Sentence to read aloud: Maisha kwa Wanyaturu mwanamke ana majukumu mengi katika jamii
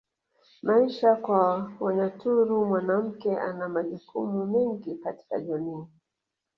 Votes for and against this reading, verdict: 3, 0, accepted